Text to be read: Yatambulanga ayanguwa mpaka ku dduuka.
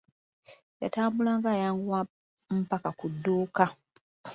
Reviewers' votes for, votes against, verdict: 2, 0, accepted